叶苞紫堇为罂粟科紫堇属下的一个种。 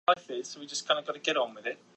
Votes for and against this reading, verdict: 0, 2, rejected